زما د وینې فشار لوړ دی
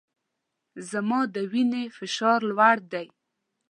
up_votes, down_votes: 2, 0